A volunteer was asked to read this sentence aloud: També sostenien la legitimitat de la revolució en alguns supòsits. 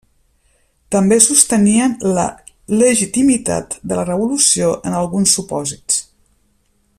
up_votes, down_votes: 3, 0